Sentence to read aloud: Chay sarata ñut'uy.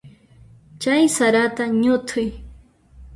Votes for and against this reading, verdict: 2, 0, accepted